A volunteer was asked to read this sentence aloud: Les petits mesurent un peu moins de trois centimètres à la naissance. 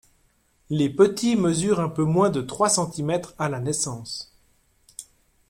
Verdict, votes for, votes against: accepted, 2, 0